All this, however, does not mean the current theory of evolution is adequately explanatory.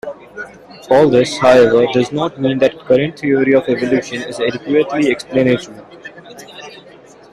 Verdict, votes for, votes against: accepted, 2, 1